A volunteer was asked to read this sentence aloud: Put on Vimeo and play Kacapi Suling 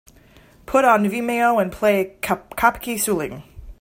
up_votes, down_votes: 2, 1